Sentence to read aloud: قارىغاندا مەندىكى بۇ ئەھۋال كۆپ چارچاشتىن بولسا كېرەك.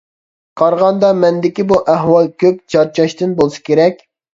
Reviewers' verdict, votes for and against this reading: accepted, 2, 0